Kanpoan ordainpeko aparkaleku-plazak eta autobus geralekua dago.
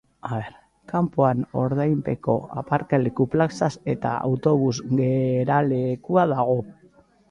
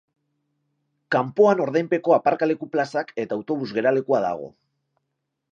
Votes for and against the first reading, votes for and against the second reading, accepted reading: 0, 2, 4, 0, second